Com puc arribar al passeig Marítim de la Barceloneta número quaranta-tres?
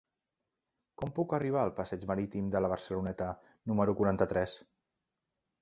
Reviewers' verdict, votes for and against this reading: accepted, 3, 0